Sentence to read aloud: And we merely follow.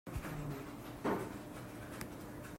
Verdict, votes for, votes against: rejected, 0, 2